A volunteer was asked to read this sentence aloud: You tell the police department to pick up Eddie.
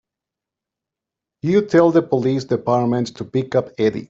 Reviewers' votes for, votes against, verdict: 2, 0, accepted